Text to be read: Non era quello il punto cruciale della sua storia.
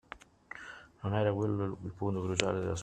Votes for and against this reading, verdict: 0, 2, rejected